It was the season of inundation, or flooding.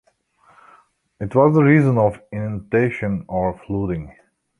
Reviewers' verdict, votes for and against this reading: rejected, 0, 2